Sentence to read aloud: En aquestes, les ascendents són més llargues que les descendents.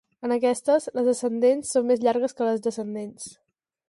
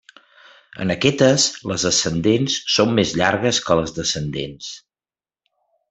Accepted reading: first